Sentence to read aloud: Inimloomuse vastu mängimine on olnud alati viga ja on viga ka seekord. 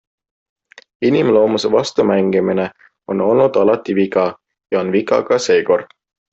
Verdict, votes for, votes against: accepted, 2, 0